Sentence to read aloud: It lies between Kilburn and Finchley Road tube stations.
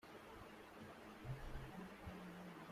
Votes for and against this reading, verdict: 0, 2, rejected